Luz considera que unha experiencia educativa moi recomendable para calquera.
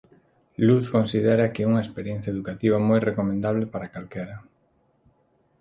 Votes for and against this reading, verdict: 2, 0, accepted